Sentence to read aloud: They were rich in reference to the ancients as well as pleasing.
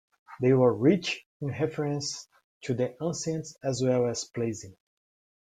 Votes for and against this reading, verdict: 2, 1, accepted